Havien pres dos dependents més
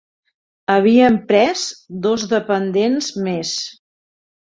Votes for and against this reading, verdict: 3, 0, accepted